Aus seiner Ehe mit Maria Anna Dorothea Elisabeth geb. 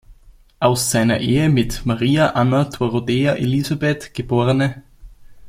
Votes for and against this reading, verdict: 1, 2, rejected